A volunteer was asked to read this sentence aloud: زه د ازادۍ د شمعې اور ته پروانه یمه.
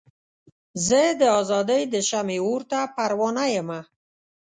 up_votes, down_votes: 2, 0